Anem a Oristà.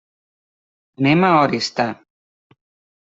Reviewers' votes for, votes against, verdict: 1, 2, rejected